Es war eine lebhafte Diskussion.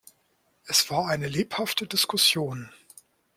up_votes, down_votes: 2, 0